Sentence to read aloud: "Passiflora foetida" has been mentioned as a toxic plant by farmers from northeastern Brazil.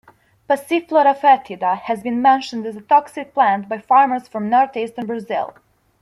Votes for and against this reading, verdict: 2, 0, accepted